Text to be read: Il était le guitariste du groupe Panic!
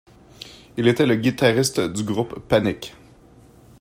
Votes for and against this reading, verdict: 2, 0, accepted